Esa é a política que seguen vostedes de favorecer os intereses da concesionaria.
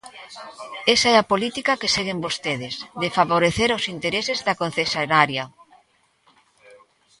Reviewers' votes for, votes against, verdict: 0, 2, rejected